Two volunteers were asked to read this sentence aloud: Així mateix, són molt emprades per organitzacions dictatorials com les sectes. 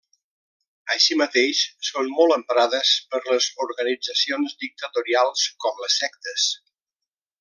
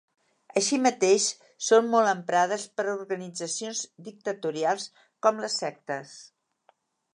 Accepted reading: second